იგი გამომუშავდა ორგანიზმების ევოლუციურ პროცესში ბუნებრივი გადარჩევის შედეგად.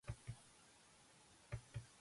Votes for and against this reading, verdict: 1, 2, rejected